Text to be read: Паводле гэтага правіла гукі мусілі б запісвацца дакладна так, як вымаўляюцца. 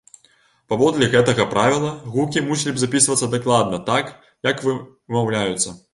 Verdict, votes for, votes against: rejected, 0, 2